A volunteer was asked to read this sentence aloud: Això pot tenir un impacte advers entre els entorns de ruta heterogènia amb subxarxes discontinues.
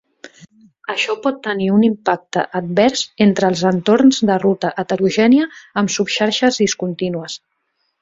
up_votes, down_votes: 3, 0